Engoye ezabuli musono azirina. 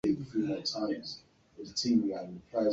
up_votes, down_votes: 0, 2